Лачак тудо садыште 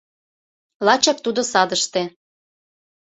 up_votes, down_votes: 2, 0